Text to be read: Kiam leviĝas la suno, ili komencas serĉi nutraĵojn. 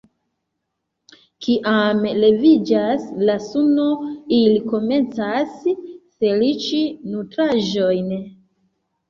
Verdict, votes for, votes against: rejected, 0, 2